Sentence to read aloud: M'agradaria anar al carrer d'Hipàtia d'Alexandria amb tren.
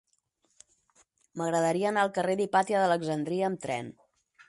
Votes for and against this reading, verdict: 4, 0, accepted